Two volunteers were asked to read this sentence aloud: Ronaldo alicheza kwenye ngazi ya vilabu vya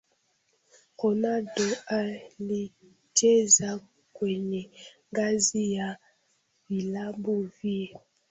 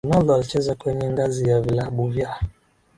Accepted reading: second